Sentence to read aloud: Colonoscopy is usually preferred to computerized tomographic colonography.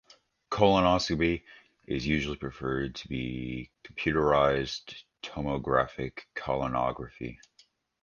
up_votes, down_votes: 1, 2